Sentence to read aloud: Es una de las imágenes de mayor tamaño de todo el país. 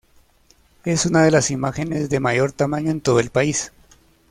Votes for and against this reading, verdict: 0, 2, rejected